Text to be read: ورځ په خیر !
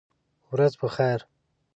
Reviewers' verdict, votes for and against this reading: accepted, 2, 0